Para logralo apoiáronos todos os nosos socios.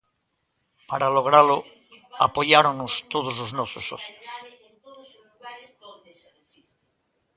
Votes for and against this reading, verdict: 2, 1, accepted